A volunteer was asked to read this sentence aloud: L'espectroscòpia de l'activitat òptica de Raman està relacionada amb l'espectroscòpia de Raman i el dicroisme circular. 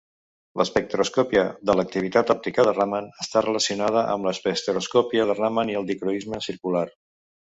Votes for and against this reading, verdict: 1, 2, rejected